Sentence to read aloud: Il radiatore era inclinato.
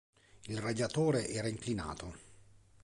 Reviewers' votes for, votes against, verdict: 2, 0, accepted